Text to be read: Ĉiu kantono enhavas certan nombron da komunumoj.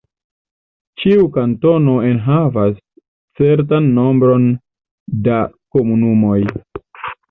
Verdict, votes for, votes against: accepted, 2, 0